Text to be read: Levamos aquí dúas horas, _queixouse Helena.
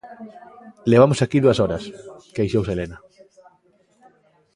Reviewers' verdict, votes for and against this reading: accepted, 2, 1